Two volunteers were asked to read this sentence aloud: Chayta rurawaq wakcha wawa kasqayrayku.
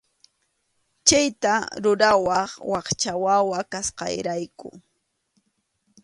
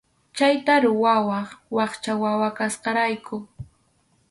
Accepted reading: first